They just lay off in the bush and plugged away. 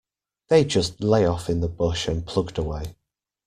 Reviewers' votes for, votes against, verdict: 2, 0, accepted